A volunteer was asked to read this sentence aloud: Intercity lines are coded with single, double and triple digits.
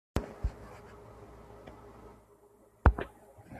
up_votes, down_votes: 1, 2